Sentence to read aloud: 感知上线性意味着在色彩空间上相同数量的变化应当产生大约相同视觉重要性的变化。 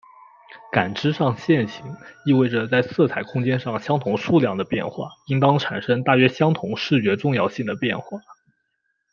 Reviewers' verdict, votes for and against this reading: accepted, 2, 0